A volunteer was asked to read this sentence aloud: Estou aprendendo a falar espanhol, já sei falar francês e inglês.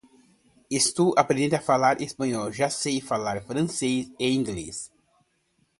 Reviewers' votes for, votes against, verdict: 2, 0, accepted